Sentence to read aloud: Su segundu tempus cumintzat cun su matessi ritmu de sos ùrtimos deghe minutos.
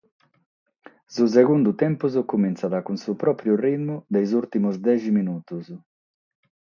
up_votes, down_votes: 0, 6